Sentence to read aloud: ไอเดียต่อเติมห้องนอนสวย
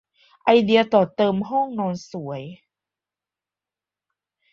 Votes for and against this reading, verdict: 2, 0, accepted